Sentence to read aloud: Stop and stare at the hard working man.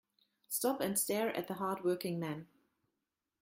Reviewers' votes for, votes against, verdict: 0, 2, rejected